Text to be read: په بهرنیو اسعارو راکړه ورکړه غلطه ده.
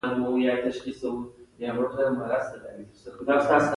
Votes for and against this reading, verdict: 2, 0, accepted